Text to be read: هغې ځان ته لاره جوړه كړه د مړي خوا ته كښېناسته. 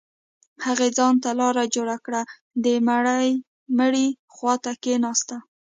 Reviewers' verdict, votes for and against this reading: accepted, 2, 1